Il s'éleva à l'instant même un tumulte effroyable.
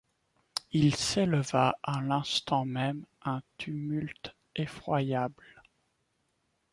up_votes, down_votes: 2, 0